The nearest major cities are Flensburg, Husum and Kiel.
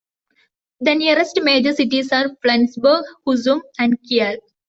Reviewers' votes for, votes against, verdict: 2, 0, accepted